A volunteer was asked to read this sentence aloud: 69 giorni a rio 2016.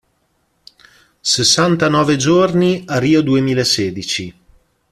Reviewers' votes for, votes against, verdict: 0, 2, rejected